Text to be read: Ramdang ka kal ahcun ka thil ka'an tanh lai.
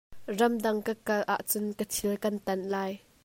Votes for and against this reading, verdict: 2, 1, accepted